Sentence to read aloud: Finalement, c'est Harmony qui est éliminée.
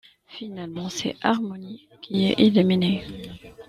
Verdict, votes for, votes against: accepted, 2, 1